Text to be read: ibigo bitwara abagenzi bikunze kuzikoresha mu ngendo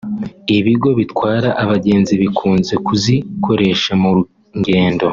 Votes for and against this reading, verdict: 2, 0, accepted